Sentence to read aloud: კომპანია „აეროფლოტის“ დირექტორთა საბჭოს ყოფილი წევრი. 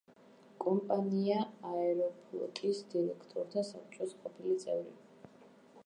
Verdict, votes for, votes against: accepted, 2, 0